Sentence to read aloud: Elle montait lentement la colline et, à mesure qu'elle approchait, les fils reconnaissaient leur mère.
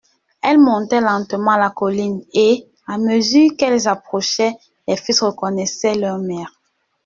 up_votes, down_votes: 1, 2